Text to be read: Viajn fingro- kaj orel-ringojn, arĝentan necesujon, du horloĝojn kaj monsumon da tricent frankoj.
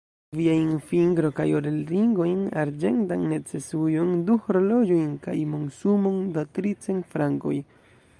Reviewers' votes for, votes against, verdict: 1, 2, rejected